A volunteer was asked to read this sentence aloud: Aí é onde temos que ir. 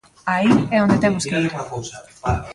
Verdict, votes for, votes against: rejected, 0, 2